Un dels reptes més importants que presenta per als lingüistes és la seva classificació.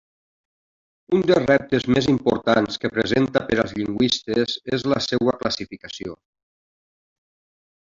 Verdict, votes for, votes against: rejected, 0, 2